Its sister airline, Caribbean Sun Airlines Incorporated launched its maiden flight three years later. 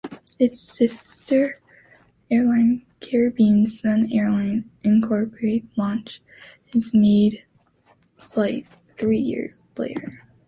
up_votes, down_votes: 0, 2